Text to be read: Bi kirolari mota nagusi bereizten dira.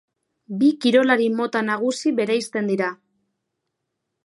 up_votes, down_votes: 2, 0